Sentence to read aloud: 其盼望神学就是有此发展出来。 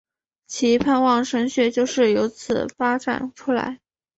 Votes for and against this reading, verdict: 7, 0, accepted